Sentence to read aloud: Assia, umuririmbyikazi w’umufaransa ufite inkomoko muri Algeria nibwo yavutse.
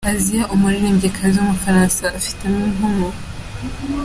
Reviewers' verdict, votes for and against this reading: rejected, 0, 2